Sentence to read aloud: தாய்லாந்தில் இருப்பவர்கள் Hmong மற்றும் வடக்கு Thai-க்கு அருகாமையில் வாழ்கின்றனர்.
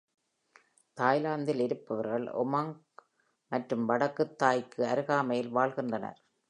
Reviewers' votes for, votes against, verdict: 2, 0, accepted